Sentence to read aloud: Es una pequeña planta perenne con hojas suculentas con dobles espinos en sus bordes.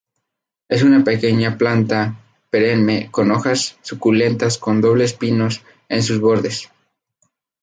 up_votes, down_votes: 0, 2